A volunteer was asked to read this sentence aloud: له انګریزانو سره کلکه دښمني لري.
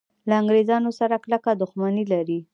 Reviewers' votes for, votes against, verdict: 3, 0, accepted